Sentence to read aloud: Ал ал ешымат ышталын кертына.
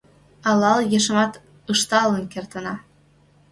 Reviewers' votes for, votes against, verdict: 2, 0, accepted